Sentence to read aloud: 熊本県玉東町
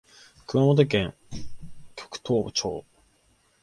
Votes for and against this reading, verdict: 2, 1, accepted